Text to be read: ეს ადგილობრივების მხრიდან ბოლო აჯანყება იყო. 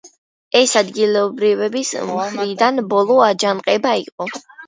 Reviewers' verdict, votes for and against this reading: accepted, 2, 1